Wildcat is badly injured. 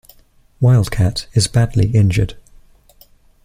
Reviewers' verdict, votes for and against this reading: accepted, 2, 0